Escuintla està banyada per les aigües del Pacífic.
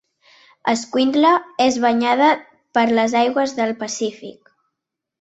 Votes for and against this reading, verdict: 1, 2, rejected